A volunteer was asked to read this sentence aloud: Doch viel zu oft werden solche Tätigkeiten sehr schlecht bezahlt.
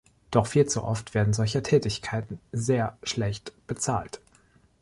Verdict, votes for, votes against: accepted, 2, 0